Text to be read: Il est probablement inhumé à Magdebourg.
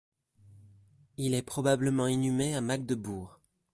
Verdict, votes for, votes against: accepted, 2, 0